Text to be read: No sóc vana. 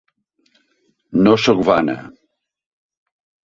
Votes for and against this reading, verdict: 1, 2, rejected